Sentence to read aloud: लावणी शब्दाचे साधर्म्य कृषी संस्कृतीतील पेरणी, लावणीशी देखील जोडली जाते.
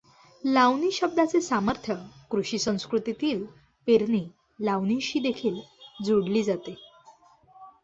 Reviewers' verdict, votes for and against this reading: rejected, 1, 2